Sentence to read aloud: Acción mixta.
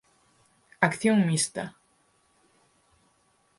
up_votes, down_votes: 4, 0